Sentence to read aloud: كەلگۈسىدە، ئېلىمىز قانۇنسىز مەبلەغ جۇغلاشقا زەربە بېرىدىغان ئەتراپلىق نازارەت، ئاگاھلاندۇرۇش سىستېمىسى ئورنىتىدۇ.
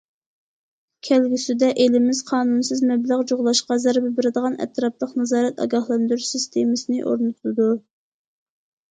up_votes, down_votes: 0, 2